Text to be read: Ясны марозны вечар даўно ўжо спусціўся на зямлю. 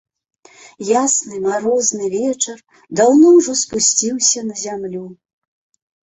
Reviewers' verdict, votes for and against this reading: accepted, 2, 0